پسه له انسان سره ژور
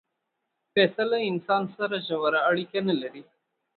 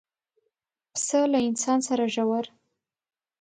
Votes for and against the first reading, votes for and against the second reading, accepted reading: 1, 2, 2, 0, second